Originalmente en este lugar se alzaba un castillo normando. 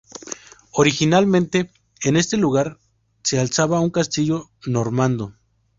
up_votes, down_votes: 2, 0